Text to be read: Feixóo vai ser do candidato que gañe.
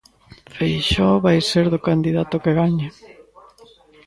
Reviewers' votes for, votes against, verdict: 2, 1, accepted